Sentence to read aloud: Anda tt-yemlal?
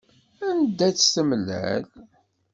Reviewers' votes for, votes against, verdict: 0, 2, rejected